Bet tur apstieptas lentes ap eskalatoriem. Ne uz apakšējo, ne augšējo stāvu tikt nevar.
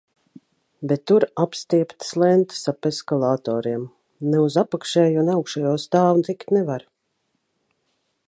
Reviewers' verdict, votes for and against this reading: accepted, 2, 0